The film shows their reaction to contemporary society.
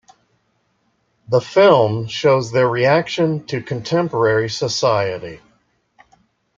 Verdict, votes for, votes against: accepted, 2, 0